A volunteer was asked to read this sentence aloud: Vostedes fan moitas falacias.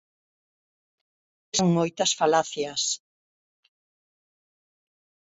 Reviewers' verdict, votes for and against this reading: rejected, 0, 4